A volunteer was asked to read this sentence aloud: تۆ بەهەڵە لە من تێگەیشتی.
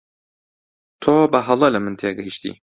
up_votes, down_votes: 2, 0